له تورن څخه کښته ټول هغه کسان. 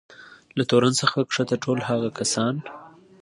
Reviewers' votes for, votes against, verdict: 2, 0, accepted